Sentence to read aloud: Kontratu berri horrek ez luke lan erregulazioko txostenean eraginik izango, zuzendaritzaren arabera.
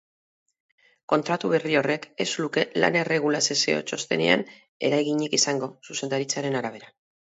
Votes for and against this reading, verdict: 0, 4, rejected